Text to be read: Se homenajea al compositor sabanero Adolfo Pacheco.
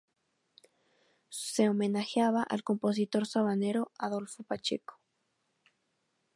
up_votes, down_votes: 0, 2